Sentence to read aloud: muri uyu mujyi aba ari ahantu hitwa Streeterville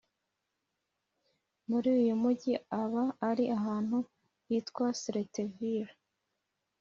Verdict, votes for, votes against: rejected, 0, 2